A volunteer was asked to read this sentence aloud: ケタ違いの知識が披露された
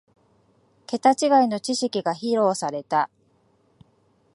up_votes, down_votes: 2, 0